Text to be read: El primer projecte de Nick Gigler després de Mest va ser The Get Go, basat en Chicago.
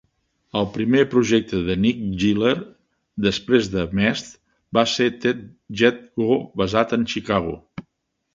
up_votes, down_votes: 0, 2